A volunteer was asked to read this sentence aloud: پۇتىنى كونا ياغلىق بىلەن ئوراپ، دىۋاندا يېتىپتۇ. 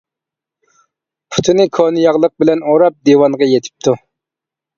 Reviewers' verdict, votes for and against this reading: rejected, 1, 2